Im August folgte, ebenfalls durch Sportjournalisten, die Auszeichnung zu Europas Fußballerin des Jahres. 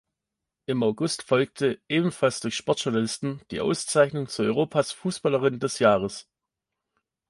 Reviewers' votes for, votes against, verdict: 2, 0, accepted